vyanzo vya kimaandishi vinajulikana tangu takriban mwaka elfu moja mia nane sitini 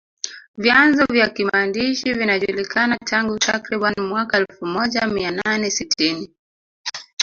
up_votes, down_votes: 1, 2